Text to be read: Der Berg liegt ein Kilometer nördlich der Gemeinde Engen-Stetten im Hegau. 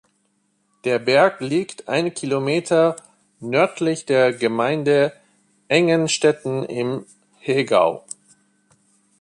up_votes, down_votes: 2, 0